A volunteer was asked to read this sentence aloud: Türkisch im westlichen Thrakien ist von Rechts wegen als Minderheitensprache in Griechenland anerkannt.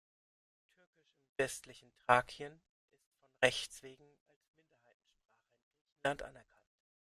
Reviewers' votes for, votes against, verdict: 0, 2, rejected